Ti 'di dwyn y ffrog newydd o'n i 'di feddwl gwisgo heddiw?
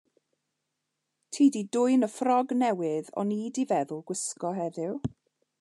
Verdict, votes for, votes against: accepted, 2, 0